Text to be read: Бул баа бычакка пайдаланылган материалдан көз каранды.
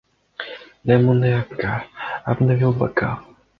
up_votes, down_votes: 0, 2